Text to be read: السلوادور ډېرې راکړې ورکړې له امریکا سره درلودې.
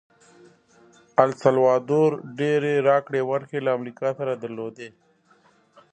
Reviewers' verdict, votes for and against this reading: rejected, 0, 2